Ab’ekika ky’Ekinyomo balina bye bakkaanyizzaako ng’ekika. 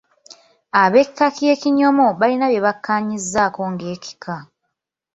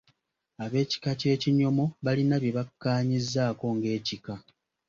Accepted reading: second